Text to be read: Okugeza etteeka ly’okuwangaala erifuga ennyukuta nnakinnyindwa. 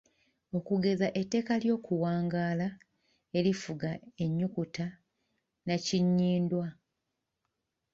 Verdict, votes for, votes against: accepted, 2, 0